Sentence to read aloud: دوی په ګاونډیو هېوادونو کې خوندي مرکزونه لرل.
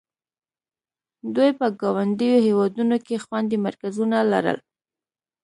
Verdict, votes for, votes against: accepted, 2, 0